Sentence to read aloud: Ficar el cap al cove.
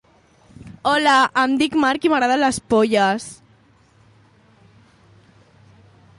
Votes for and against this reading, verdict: 0, 2, rejected